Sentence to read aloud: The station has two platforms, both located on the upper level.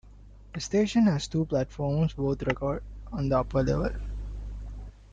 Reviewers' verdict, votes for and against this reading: rejected, 0, 2